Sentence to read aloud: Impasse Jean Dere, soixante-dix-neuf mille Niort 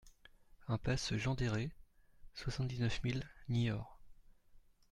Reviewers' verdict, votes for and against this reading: accepted, 2, 0